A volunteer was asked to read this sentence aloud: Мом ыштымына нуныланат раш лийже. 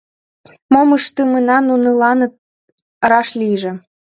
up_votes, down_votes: 1, 2